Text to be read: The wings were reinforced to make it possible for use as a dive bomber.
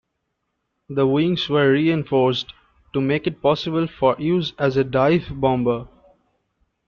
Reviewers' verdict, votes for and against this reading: accepted, 2, 0